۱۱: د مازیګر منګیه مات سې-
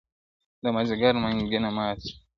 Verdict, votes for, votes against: rejected, 0, 2